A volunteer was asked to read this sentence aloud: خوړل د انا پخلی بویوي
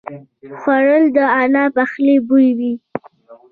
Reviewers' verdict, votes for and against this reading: rejected, 0, 2